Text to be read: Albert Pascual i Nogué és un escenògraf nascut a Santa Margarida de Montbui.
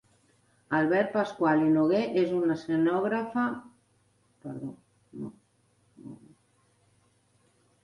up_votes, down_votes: 0, 2